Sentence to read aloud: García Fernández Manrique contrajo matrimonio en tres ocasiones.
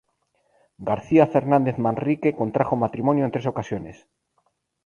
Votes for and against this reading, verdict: 0, 2, rejected